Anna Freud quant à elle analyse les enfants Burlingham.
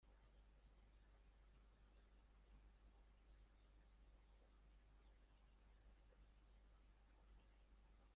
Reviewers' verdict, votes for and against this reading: rejected, 0, 2